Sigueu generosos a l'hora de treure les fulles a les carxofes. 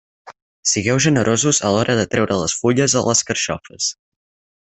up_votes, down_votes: 6, 0